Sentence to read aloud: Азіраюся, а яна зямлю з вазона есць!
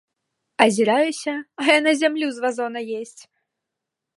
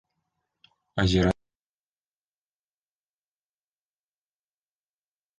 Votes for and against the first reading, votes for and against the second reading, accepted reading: 3, 0, 0, 2, first